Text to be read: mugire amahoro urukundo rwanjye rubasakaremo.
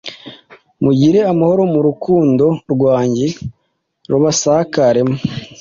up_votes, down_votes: 1, 2